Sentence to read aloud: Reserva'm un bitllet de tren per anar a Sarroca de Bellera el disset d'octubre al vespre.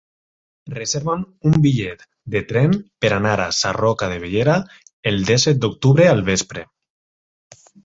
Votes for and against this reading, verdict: 0, 4, rejected